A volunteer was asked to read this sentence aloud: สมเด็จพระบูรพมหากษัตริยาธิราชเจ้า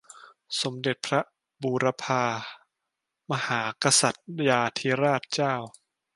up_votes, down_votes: 0, 2